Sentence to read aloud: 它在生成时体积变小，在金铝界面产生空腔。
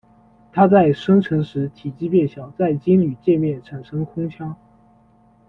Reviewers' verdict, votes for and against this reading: accepted, 2, 0